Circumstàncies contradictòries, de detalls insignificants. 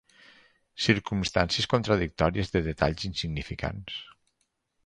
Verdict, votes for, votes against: accepted, 4, 0